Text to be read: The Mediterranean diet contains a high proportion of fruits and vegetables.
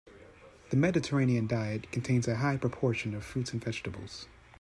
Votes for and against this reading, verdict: 2, 0, accepted